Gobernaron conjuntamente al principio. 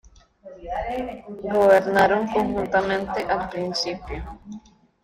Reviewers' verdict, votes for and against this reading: rejected, 1, 2